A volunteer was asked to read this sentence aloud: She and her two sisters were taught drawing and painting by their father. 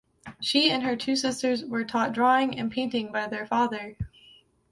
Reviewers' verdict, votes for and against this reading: accepted, 3, 0